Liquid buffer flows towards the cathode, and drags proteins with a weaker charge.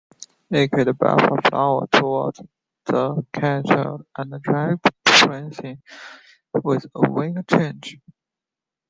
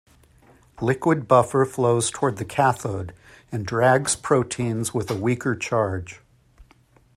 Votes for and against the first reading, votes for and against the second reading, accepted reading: 0, 2, 2, 0, second